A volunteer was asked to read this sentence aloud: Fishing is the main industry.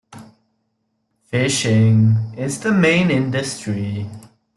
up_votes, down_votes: 1, 2